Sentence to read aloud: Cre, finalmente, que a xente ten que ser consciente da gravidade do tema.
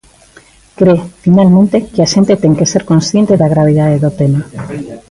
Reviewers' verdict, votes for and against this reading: accepted, 2, 0